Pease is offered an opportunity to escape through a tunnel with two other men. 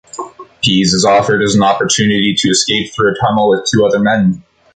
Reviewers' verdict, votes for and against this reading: rejected, 0, 2